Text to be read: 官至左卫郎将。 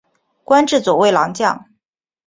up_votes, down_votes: 3, 1